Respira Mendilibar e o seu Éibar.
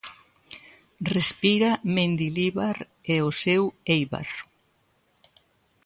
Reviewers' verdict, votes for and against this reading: accepted, 2, 0